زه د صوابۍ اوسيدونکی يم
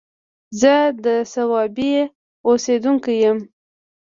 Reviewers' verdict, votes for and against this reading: accepted, 2, 0